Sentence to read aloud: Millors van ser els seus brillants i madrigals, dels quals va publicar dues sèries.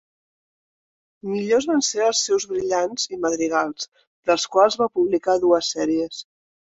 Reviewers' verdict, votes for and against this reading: accepted, 3, 0